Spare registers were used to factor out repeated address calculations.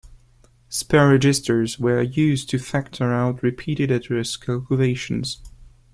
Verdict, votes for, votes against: rejected, 1, 2